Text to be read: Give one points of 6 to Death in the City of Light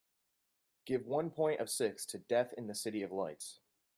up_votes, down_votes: 0, 2